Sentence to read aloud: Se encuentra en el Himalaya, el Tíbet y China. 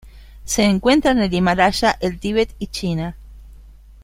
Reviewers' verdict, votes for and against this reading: rejected, 1, 2